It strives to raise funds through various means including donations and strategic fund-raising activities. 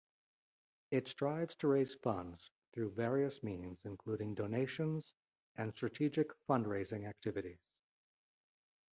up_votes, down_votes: 2, 0